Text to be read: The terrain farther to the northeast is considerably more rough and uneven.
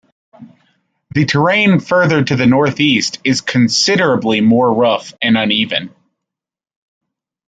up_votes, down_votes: 2, 0